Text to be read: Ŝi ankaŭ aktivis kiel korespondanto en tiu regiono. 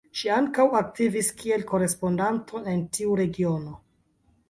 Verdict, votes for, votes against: accepted, 3, 0